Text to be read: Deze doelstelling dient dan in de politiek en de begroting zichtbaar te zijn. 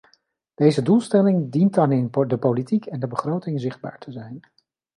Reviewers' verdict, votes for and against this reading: rejected, 1, 2